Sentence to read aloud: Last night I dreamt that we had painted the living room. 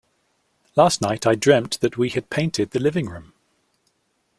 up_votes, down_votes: 2, 0